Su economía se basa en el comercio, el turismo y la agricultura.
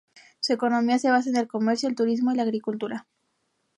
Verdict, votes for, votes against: accepted, 2, 0